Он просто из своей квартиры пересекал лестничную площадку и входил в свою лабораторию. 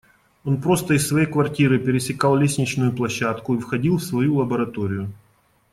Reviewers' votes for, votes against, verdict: 2, 0, accepted